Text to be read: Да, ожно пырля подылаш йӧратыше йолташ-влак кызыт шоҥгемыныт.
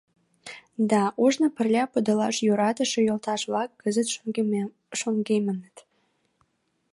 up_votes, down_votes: 0, 2